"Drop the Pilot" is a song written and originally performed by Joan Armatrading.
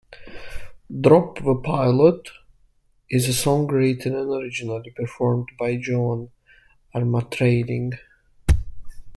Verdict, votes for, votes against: accepted, 2, 1